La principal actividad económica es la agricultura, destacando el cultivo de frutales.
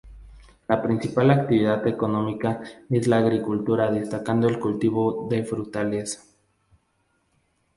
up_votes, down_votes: 0, 2